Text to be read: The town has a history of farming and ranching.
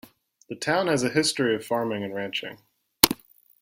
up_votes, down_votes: 2, 0